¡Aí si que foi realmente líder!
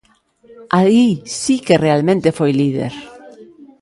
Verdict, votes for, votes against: rejected, 0, 2